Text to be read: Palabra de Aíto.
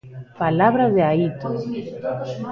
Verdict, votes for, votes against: rejected, 0, 2